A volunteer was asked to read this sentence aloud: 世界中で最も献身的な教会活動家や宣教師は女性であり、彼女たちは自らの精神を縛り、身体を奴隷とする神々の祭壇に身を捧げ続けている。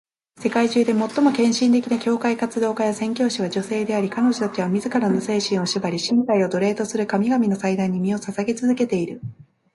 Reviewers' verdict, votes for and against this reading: accepted, 2, 0